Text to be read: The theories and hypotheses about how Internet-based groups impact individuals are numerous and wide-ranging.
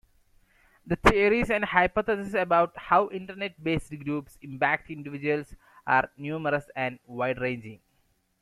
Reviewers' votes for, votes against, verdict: 2, 0, accepted